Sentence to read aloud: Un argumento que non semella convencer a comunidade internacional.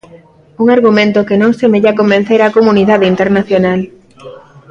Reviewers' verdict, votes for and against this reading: accepted, 2, 0